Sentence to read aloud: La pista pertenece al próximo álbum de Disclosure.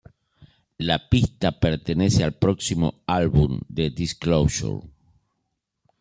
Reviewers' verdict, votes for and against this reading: accepted, 2, 0